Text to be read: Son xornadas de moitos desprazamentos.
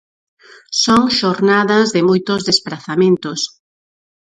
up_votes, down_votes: 2, 4